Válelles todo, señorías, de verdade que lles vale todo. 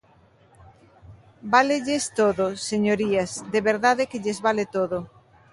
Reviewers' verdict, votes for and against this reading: accepted, 3, 0